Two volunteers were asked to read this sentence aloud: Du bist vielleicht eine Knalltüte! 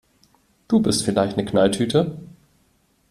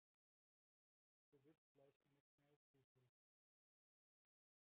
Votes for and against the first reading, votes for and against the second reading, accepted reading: 2, 0, 0, 4, first